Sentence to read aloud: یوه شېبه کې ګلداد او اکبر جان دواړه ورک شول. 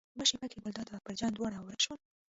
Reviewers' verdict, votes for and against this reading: rejected, 0, 2